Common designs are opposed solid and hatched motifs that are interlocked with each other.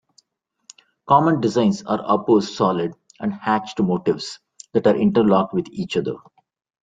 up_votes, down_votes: 2, 0